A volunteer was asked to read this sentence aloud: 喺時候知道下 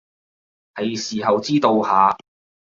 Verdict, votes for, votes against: accepted, 2, 0